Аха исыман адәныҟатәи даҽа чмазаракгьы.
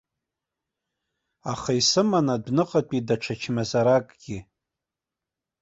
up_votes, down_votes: 1, 2